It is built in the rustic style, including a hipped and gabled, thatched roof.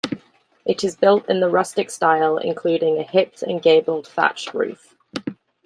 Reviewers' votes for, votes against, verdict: 2, 0, accepted